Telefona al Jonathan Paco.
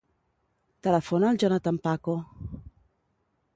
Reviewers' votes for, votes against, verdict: 1, 2, rejected